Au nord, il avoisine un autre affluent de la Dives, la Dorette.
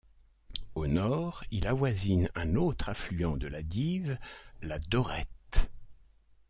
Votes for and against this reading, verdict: 2, 0, accepted